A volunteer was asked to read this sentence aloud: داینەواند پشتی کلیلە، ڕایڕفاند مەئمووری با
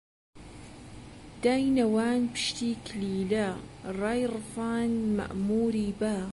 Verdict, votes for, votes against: accepted, 2, 0